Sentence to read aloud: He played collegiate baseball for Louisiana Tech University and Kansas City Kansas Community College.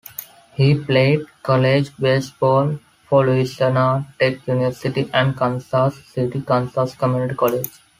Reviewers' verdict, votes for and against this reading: rejected, 0, 2